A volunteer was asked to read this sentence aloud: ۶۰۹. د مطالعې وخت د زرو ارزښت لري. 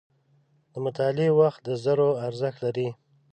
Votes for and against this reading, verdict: 0, 2, rejected